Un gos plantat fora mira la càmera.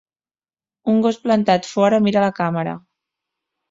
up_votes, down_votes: 4, 0